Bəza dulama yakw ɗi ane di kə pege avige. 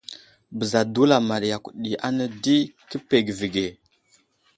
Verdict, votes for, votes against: accepted, 2, 0